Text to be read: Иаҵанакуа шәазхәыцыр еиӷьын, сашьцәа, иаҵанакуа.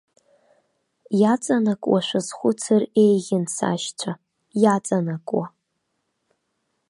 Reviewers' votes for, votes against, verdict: 3, 0, accepted